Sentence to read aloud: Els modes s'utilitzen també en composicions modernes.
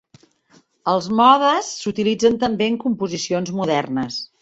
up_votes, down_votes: 3, 0